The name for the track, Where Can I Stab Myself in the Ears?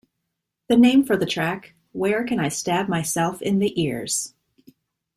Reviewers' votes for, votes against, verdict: 2, 0, accepted